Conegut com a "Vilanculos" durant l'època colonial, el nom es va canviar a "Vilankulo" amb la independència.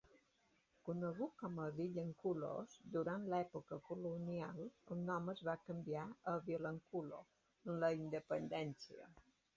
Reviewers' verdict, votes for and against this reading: accepted, 3, 0